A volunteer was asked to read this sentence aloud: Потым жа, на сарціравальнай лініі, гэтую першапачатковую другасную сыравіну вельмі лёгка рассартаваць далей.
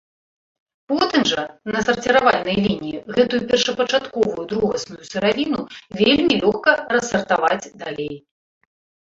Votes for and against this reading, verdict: 2, 1, accepted